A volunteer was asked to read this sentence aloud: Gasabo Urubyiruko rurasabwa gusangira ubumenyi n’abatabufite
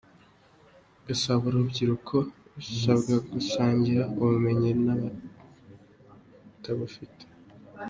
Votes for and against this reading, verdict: 2, 1, accepted